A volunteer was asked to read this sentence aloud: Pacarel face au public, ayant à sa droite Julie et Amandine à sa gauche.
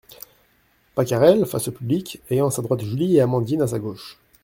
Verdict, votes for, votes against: accepted, 2, 0